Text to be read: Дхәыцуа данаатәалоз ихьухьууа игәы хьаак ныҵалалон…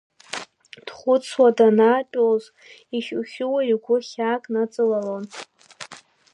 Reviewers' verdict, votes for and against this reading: accepted, 2, 0